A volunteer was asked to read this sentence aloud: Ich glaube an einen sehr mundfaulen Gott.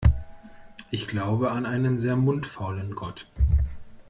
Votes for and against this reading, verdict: 2, 0, accepted